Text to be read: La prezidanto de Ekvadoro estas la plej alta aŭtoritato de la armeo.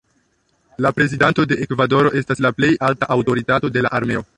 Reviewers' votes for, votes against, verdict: 0, 2, rejected